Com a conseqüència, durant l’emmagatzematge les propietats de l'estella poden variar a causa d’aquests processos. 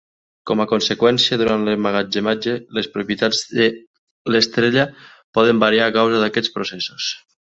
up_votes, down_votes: 0, 2